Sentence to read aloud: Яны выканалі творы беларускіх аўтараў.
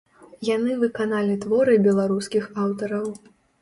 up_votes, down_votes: 0, 2